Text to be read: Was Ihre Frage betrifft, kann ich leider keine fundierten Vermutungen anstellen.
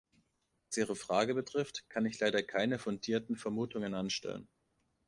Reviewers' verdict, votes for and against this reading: rejected, 1, 2